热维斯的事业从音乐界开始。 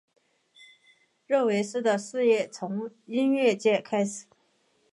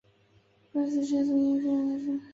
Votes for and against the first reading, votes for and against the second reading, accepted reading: 3, 1, 1, 6, first